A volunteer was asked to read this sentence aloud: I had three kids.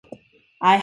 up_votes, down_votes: 0, 2